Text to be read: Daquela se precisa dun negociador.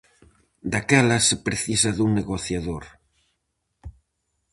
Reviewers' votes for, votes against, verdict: 4, 0, accepted